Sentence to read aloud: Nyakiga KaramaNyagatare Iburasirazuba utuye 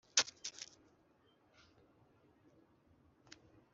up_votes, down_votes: 0, 2